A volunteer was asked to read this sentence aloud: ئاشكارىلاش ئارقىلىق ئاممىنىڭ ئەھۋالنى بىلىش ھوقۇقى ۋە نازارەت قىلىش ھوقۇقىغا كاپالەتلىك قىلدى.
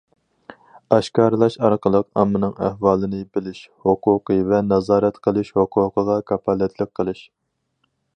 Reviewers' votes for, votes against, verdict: 2, 2, rejected